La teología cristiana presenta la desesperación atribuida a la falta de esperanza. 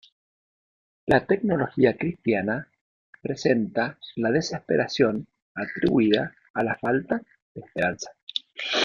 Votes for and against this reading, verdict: 1, 2, rejected